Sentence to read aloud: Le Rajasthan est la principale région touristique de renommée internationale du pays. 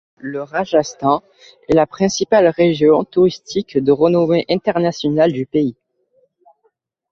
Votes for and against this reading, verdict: 2, 0, accepted